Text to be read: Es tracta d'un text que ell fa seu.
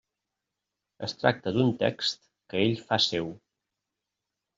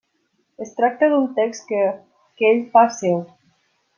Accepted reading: first